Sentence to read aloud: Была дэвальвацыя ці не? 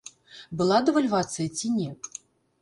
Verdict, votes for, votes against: accepted, 2, 1